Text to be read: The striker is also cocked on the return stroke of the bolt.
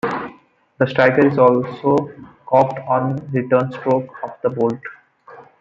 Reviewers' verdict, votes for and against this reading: accepted, 2, 1